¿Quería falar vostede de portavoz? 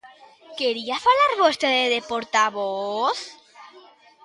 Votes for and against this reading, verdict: 1, 2, rejected